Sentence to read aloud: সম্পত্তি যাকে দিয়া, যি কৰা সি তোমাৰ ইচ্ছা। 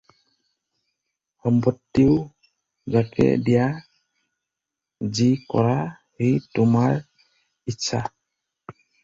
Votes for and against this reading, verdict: 0, 4, rejected